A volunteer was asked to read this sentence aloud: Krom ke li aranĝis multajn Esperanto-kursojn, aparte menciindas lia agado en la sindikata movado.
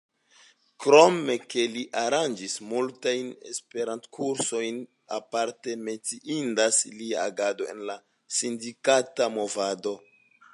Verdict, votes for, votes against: accepted, 2, 0